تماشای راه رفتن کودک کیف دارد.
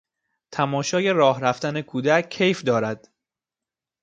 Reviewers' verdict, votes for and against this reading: accepted, 2, 0